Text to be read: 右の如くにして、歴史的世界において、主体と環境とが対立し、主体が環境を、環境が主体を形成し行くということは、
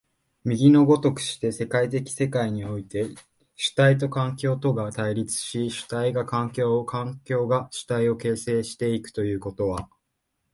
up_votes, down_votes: 1, 2